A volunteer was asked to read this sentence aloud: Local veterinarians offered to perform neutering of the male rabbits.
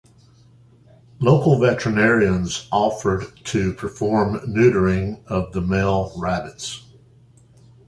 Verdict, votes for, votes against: accepted, 2, 1